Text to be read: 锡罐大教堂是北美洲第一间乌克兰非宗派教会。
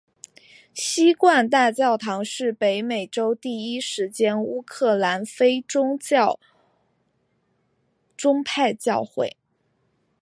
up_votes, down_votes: 0, 2